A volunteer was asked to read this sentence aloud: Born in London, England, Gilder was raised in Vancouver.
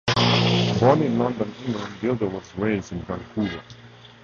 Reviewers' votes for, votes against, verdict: 2, 2, rejected